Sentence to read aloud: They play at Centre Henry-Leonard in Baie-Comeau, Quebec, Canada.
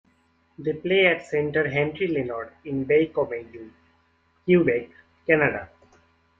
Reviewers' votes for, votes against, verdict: 1, 2, rejected